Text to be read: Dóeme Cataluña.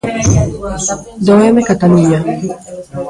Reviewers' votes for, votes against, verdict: 1, 2, rejected